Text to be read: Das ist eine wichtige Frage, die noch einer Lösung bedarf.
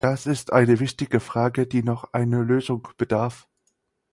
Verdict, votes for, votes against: accepted, 4, 0